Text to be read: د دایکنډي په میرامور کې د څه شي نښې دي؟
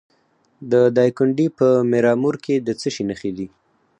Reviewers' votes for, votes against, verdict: 4, 0, accepted